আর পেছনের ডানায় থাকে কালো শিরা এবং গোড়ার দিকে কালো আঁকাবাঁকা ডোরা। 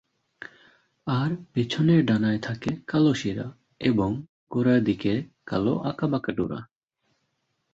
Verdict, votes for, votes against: accepted, 3, 0